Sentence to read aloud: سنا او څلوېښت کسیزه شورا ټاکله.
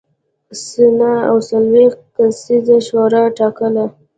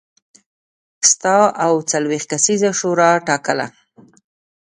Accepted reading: first